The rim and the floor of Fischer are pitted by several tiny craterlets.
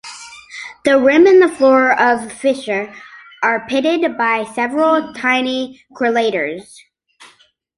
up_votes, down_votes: 0, 2